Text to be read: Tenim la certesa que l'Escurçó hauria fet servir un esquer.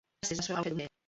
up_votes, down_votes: 0, 2